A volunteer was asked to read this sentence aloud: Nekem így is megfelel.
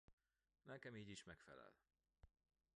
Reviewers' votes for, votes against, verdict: 2, 1, accepted